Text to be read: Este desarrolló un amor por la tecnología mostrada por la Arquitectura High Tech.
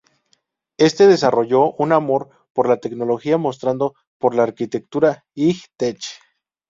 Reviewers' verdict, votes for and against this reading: accepted, 2, 0